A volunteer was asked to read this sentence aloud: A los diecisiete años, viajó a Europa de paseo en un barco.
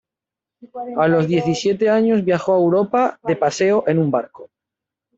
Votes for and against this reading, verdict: 1, 2, rejected